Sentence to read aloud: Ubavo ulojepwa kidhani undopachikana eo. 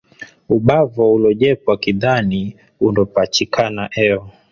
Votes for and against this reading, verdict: 2, 1, accepted